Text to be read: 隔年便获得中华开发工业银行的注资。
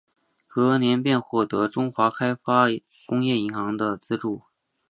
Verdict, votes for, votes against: accepted, 6, 0